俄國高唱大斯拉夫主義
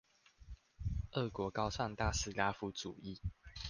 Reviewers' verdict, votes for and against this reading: accepted, 2, 0